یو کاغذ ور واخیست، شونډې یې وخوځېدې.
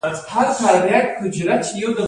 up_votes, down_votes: 1, 2